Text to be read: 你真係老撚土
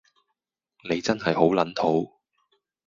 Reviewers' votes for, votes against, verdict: 0, 2, rejected